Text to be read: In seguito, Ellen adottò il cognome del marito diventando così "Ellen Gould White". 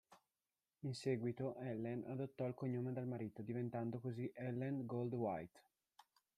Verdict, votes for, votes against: rejected, 0, 2